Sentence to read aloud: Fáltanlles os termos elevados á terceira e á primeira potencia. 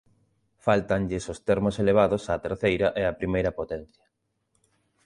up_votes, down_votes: 2, 0